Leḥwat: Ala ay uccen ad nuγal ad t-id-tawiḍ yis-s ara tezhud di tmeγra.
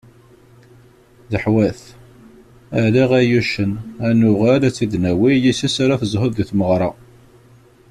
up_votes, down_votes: 0, 2